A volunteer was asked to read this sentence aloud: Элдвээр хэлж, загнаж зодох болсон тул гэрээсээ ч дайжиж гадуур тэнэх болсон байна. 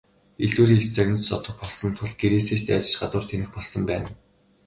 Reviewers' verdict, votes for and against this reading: rejected, 0, 2